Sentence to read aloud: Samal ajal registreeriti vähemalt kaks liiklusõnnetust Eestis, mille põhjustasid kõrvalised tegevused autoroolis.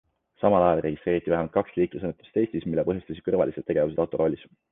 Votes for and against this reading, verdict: 2, 0, accepted